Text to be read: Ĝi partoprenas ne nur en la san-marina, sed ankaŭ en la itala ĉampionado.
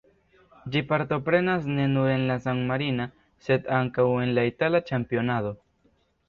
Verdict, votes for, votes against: accepted, 2, 0